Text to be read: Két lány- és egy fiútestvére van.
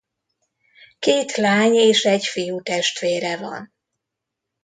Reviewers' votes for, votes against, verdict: 2, 0, accepted